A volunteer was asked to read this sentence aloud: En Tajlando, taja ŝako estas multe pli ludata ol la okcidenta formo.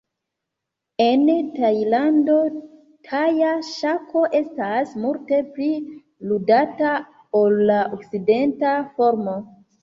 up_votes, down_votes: 1, 2